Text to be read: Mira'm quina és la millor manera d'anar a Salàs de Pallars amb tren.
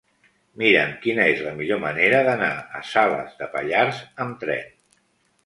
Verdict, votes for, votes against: accepted, 2, 0